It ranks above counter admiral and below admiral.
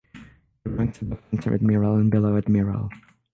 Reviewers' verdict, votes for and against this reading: rejected, 0, 3